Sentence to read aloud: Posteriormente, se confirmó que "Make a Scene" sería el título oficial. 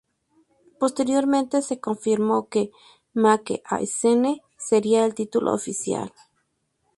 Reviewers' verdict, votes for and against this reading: accepted, 2, 0